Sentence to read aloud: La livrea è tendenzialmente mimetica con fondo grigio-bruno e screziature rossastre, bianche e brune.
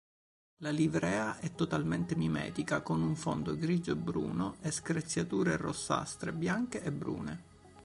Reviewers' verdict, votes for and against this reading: rejected, 1, 2